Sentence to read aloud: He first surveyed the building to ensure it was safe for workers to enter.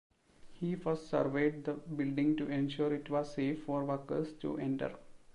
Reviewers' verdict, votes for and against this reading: accepted, 2, 1